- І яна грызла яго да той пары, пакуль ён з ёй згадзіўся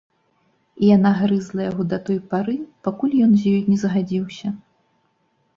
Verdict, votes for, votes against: rejected, 1, 2